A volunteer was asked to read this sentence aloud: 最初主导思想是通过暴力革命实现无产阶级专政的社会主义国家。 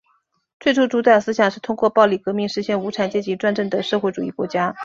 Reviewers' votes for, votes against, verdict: 2, 0, accepted